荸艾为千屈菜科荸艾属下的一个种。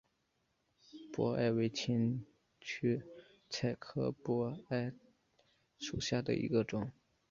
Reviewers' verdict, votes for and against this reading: accepted, 3, 0